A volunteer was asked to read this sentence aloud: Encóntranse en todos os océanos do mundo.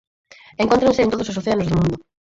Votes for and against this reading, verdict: 0, 4, rejected